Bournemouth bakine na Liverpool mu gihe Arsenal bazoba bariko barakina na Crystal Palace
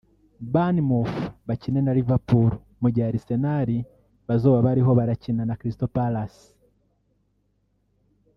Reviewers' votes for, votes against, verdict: 1, 2, rejected